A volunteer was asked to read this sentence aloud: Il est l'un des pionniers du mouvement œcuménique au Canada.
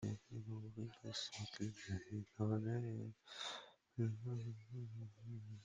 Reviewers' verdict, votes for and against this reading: rejected, 0, 2